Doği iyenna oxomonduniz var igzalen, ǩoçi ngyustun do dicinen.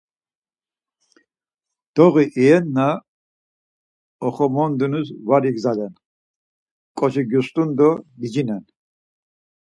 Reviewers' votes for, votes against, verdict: 4, 0, accepted